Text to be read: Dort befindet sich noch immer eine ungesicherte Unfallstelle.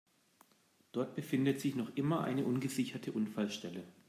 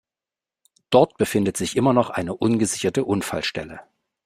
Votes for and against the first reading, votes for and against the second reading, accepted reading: 2, 0, 0, 2, first